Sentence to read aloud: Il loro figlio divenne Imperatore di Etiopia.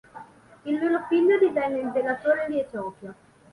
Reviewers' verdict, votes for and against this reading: accepted, 3, 1